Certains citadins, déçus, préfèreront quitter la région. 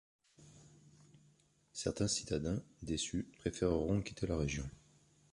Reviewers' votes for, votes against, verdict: 2, 0, accepted